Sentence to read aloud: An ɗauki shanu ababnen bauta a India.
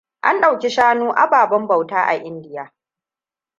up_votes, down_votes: 2, 0